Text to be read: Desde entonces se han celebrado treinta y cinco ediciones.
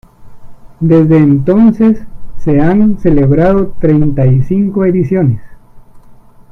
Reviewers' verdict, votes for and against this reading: accepted, 2, 1